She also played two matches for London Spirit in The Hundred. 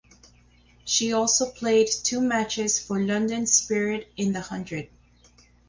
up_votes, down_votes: 4, 0